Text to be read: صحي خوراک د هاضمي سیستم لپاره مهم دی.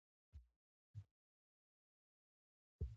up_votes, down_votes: 0, 2